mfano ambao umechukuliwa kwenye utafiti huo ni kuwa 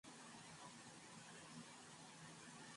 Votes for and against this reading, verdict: 1, 7, rejected